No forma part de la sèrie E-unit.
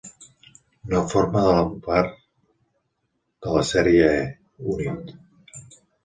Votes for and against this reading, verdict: 1, 2, rejected